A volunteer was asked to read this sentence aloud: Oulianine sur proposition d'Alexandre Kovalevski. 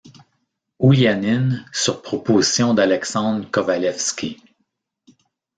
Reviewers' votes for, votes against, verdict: 0, 2, rejected